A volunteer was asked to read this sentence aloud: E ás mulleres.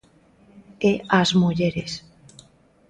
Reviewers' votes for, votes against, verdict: 2, 1, accepted